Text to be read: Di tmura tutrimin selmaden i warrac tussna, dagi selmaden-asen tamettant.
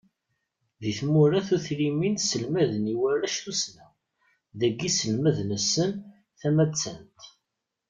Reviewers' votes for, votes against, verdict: 1, 2, rejected